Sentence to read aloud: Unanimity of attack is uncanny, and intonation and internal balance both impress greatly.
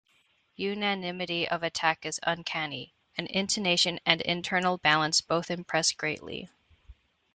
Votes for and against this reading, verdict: 2, 0, accepted